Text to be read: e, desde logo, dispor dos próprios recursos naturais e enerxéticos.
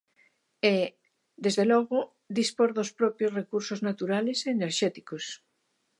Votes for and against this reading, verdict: 0, 2, rejected